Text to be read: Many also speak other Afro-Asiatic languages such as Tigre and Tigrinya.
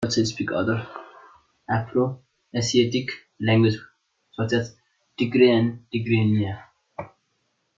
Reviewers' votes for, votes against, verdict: 1, 2, rejected